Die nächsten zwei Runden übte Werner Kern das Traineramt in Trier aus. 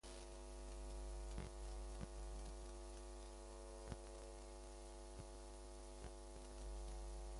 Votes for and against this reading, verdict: 0, 2, rejected